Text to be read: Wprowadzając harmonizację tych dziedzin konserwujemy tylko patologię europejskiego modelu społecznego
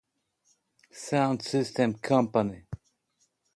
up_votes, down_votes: 0, 2